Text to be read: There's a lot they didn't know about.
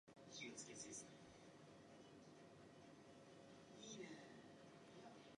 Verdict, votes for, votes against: rejected, 0, 2